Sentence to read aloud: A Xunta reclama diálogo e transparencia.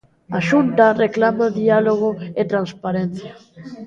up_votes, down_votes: 2, 0